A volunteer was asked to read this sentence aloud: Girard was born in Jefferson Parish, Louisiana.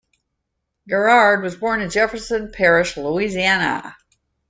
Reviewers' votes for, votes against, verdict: 2, 0, accepted